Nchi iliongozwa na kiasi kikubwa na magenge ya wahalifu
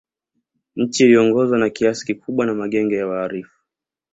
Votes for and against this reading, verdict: 2, 1, accepted